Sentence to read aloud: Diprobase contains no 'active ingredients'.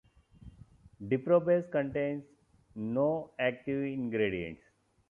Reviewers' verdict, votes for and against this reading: accepted, 2, 0